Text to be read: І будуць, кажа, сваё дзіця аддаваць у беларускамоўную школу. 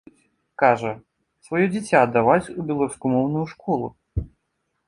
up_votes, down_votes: 0, 2